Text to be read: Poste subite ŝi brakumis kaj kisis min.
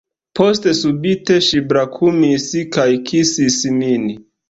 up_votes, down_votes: 2, 0